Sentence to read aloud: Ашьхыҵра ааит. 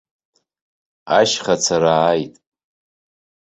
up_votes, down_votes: 1, 2